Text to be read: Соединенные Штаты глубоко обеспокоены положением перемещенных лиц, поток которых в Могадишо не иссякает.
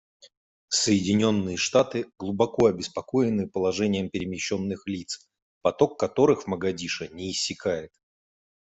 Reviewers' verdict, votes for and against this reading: accepted, 2, 0